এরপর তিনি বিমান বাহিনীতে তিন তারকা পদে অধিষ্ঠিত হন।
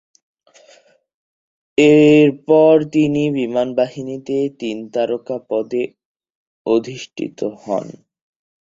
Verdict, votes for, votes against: accepted, 4, 0